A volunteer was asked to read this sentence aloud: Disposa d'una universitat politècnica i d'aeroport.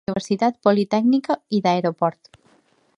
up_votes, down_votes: 0, 2